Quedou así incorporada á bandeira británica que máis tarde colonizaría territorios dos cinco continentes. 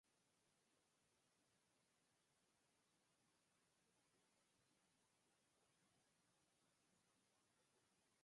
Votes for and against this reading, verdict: 0, 4, rejected